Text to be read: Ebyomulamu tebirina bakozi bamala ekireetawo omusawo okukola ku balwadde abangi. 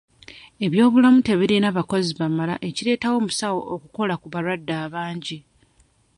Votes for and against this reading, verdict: 1, 2, rejected